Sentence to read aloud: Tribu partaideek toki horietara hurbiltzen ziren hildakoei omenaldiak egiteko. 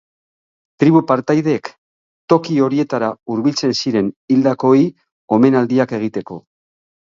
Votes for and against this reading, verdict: 6, 6, rejected